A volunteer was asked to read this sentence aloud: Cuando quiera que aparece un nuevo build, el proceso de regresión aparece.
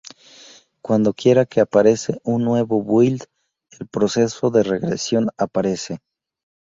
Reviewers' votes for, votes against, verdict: 2, 0, accepted